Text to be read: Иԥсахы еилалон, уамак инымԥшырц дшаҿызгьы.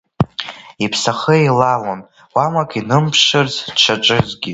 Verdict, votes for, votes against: rejected, 1, 2